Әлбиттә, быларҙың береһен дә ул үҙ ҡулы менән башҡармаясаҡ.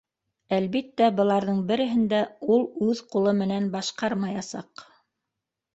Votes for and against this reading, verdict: 2, 0, accepted